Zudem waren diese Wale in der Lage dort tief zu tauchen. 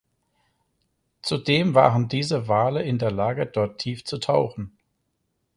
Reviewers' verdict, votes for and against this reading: accepted, 4, 0